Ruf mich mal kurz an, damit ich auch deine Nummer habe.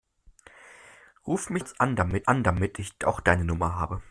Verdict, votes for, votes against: rejected, 0, 2